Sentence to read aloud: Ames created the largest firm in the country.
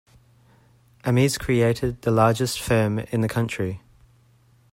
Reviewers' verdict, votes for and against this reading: rejected, 0, 2